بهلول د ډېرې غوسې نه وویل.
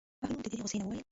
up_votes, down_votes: 1, 2